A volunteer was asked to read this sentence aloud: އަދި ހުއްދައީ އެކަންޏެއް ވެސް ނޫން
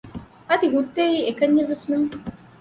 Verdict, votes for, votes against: accepted, 2, 0